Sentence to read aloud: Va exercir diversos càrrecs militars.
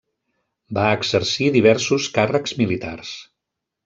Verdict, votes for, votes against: rejected, 0, 2